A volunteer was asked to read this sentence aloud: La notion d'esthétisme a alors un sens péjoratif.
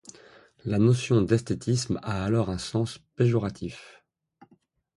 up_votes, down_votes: 2, 0